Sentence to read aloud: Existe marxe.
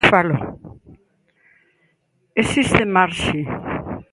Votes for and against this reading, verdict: 0, 2, rejected